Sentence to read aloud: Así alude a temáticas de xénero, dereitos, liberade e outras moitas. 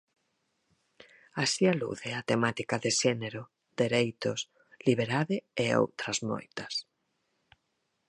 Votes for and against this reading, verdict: 0, 4, rejected